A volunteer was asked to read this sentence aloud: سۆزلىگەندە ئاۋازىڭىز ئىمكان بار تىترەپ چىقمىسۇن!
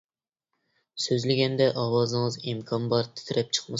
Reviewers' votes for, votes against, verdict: 1, 2, rejected